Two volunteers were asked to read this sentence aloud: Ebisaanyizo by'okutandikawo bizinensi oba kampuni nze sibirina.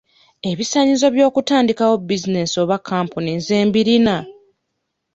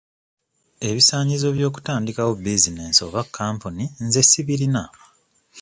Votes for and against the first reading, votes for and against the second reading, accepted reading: 0, 2, 2, 0, second